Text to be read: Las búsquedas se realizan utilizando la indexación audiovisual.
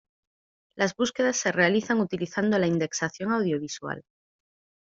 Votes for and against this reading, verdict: 2, 0, accepted